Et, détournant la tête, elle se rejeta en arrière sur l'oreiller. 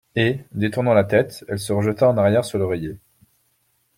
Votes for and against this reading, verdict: 2, 0, accepted